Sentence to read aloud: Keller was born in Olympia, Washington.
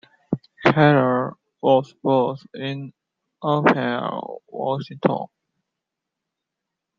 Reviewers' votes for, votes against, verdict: 2, 0, accepted